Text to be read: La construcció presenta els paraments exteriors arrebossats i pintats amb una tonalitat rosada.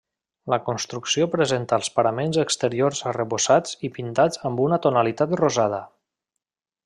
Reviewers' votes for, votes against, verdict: 3, 0, accepted